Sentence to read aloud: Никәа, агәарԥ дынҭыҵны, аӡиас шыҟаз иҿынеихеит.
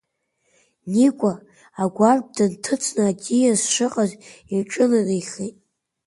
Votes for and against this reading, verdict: 0, 2, rejected